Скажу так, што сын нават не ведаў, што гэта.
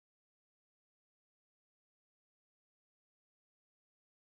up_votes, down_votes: 0, 2